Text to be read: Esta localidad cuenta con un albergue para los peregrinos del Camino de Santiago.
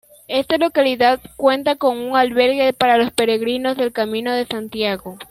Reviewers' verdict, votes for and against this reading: accepted, 2, 0